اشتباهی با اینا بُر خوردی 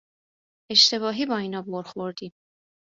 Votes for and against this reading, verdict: 2, 0, accepted